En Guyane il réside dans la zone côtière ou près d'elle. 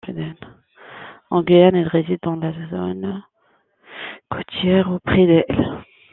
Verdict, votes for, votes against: rejected, 0, 2